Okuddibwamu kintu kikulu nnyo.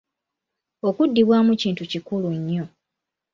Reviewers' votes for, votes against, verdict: 2, 0, accepted